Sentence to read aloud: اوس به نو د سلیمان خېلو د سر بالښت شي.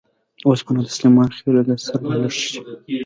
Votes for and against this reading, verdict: 3, 2, accepted